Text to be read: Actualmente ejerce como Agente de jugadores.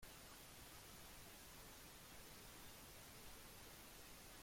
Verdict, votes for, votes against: rejected, 0, 2